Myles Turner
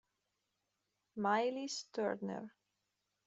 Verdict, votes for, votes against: rejected, 1, 2